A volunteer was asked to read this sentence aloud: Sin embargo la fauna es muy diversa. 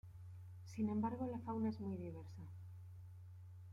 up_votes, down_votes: 2, 0